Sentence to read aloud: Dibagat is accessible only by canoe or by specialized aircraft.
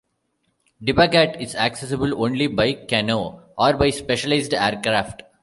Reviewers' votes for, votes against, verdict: 2, 0, accepted